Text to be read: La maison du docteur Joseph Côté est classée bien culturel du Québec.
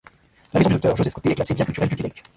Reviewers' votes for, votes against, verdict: 0, 2, rejected